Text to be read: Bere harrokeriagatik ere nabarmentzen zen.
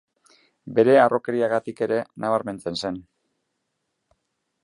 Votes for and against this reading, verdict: 2, 0, accepted